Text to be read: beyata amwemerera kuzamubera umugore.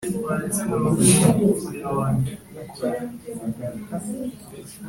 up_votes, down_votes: 0, 2